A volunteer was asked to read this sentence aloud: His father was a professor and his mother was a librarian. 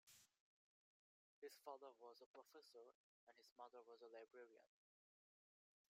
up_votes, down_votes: 0, 2